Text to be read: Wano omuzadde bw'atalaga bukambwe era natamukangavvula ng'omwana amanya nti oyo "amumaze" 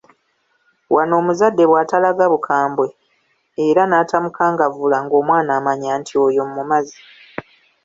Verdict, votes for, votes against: accepted, 2, 0